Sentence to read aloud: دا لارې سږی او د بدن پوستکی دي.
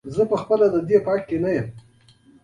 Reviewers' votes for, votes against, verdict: 1, 2, rejected